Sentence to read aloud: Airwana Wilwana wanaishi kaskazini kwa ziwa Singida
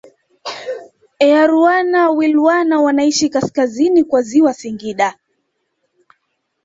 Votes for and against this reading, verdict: 2, 1, accepted